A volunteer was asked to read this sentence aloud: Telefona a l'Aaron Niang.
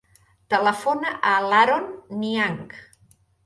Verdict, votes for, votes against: accepted, 3, 0